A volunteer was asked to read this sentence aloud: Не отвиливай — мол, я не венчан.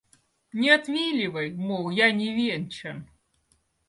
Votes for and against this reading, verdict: 2, 0, accepted